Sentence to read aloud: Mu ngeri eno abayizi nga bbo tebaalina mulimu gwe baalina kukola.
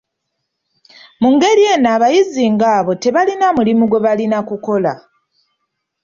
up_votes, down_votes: 0, 2